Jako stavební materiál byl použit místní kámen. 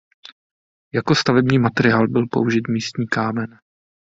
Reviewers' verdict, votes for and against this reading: accepted, 2, 0